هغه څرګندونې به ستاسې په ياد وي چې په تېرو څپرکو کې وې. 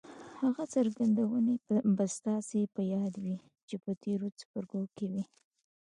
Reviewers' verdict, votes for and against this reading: rejected, 1, 2